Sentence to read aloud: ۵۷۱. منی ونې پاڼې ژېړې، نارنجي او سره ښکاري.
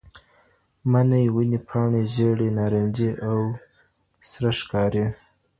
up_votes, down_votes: 0, 2